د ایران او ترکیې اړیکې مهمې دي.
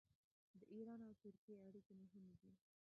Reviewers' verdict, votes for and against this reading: rejected, 0, 2